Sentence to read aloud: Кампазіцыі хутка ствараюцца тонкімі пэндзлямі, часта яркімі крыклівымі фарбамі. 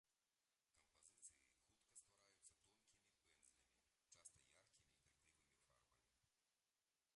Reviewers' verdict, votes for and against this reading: rejected, 0, 2